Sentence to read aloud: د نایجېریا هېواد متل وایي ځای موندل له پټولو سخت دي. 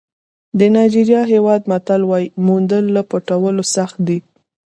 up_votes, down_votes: 0, 2